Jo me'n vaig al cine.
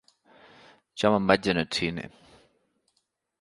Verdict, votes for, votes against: rejected, 1, 3